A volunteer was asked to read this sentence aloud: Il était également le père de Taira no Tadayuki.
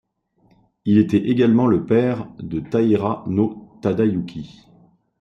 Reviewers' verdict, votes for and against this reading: accepted, 2, 0